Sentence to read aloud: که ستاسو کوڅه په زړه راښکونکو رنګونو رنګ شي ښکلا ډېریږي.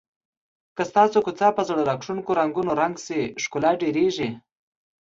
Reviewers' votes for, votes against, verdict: 2, 0, accepted